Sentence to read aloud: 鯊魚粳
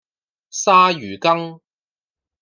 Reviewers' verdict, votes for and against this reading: accepted, 2, 0